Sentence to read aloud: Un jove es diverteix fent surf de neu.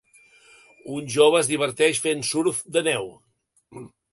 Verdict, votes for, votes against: accepted, 4, 0